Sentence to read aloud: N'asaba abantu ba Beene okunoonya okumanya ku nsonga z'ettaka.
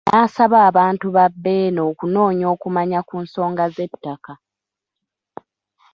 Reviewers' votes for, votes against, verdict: 0, 2, rejected